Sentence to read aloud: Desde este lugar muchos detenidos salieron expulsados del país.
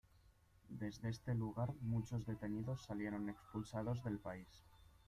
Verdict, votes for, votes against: accepted, 2, 0